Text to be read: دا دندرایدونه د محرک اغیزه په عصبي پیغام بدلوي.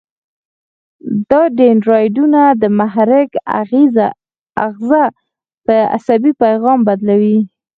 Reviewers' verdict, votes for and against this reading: rejected, 2, 4